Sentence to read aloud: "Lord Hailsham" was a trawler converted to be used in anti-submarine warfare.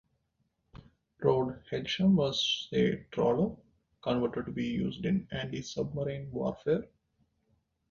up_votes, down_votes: 2, 1